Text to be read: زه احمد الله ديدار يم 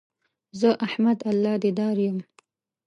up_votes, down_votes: 1, 2